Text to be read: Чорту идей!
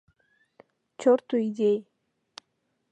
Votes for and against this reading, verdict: 2, 0, accepted